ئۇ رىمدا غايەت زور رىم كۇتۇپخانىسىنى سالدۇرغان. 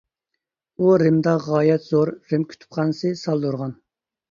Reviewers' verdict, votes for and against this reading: rejected, 0, 2